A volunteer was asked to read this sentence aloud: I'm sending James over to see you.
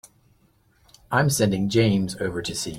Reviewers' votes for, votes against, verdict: 0, 2, rejected